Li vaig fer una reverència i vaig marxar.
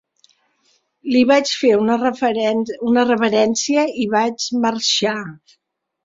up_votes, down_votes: 0, 2